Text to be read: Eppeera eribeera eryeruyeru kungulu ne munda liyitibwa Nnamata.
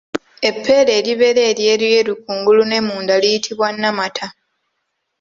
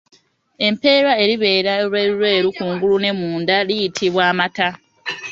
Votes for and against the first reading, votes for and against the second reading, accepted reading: 2, 0, 0, 2, first